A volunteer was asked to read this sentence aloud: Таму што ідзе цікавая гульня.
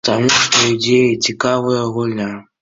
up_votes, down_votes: 2, 1